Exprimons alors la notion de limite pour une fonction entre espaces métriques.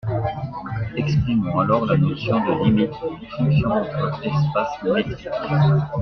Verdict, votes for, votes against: rejected, 0, 2